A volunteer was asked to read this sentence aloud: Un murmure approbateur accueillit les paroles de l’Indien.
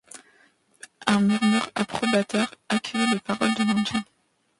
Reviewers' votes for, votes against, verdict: 0, 2, rejected